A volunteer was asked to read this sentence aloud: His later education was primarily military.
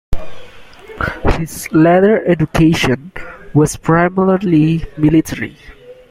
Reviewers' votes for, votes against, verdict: 2, 0, accepted